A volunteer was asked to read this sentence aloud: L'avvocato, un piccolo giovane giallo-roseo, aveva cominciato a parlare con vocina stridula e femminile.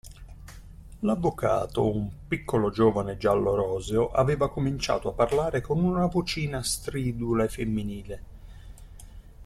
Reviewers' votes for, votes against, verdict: 2, 1, accepted